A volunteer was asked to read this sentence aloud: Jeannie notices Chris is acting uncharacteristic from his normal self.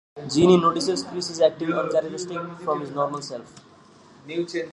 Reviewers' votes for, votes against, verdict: 2, 0, accepted